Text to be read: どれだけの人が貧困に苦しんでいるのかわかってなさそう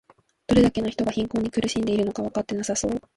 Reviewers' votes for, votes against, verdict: 0, 2, rejected